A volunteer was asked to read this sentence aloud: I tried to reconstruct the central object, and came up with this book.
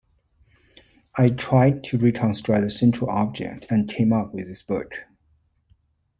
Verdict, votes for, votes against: accepted, 2, 0